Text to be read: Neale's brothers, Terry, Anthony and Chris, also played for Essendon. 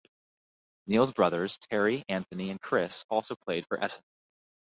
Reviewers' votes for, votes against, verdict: 0, 2, rejected